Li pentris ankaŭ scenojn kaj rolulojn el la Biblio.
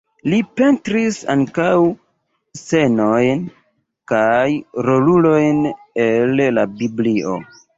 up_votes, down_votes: 0, 2